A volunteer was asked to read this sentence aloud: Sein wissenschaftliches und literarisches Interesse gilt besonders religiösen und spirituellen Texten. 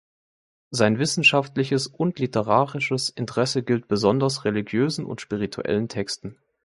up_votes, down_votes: 2, 0